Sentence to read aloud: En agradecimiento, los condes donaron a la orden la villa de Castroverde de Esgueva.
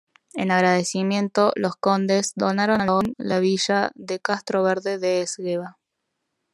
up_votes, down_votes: 1, 2